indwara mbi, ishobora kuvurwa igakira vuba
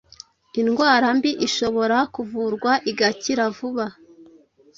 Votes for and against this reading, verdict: 2, 0, accepted